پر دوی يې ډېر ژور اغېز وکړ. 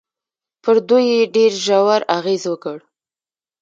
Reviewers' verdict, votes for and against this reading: accepted, 2, 0